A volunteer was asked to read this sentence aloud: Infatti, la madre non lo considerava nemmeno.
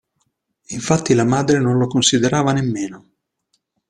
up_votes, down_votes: 2, 0